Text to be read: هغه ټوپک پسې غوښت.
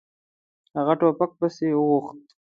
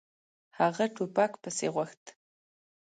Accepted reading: second